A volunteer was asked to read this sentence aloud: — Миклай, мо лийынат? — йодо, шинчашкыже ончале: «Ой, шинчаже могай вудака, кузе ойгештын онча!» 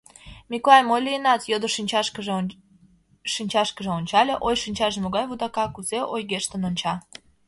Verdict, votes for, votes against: rejected, 0, 2